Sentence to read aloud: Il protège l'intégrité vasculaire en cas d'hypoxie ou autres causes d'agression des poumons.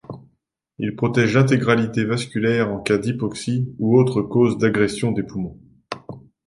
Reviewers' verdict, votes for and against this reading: rejected, 0, 2